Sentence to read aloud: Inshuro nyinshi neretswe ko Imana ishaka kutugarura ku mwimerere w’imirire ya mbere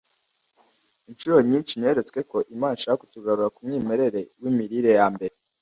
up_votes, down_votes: 2, 0